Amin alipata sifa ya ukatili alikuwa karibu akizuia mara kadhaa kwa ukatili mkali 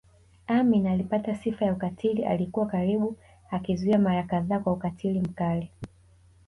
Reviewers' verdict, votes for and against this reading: accepted, 3, 0